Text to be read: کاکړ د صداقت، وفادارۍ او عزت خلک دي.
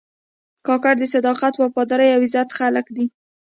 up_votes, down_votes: 2, 0